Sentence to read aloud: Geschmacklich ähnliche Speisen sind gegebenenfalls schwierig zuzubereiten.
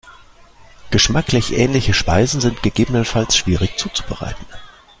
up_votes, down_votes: 2, 0